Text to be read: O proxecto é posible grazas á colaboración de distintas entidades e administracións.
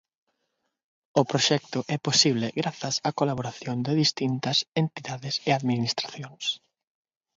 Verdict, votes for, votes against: accepted, 6, 0